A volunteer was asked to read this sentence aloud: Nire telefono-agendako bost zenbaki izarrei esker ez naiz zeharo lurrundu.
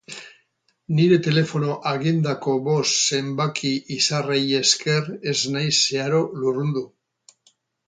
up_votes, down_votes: 0, 2